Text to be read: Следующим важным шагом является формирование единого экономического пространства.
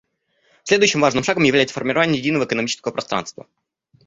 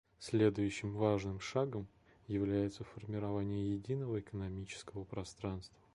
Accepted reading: second